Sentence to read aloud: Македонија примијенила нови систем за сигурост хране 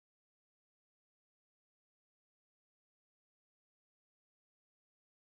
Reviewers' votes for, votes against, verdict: 0, 2, rejected